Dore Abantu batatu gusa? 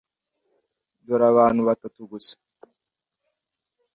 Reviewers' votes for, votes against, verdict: 2, 0, accepted